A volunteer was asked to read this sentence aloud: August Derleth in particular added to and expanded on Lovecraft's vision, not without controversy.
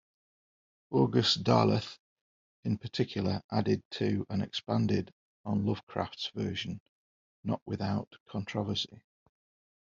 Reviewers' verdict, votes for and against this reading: rejected, 1, 2